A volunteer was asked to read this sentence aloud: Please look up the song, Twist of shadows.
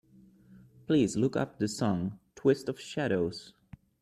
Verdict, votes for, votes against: accepted, 2, 0